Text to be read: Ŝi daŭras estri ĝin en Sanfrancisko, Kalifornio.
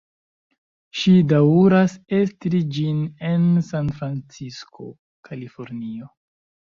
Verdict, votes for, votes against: rejected, 0, 2